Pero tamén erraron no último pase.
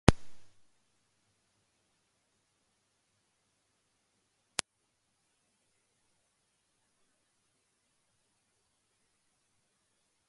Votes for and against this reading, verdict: 0, 2, rejected